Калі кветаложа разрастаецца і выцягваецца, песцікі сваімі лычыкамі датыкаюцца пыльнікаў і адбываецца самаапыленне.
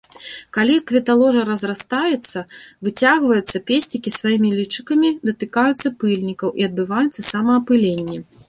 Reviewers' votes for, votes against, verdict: 1, 2, rejected